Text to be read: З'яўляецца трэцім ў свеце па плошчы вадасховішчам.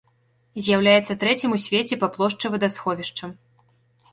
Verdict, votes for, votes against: accepted, 2, 0